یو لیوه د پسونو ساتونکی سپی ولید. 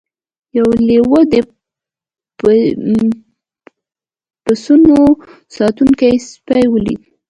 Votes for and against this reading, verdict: 2, 1, accepted